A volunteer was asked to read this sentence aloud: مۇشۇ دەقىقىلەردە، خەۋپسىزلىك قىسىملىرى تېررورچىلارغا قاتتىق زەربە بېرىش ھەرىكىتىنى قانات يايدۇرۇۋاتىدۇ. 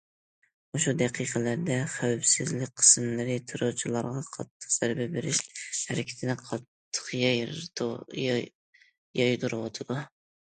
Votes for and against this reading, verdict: 0, 2, rejected